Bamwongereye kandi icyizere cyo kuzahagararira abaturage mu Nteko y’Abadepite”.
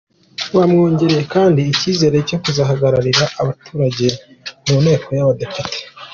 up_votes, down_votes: 2, 1